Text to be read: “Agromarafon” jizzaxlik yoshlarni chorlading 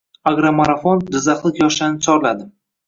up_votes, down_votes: 1, 2